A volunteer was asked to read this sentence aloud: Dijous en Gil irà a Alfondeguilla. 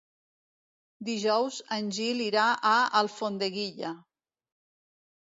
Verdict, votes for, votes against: rejected, 1, 2